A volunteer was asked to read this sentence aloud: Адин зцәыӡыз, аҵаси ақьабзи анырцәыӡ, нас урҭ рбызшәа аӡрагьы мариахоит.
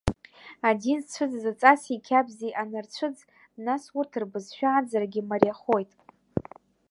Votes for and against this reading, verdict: 0, 2, rejected